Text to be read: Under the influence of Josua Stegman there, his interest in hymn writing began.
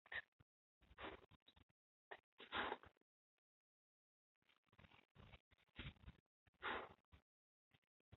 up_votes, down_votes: 0, 2